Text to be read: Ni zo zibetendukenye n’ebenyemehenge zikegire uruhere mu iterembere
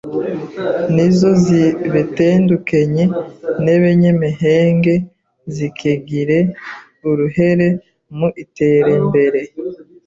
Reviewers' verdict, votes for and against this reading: rejected, 0, 2